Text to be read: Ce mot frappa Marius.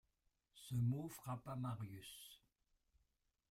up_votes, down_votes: 1, 2